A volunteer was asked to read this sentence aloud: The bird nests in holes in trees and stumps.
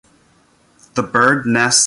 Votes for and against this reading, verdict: 0, 2, rejected